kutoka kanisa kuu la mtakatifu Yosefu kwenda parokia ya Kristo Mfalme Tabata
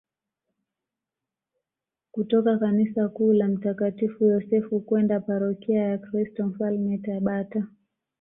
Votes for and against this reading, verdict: 2, 0, accepted